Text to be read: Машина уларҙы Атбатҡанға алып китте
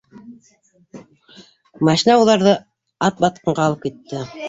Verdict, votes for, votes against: accepted, 2, 1